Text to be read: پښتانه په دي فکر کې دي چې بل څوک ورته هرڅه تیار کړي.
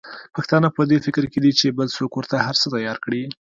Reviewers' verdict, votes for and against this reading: accepted, 2, 0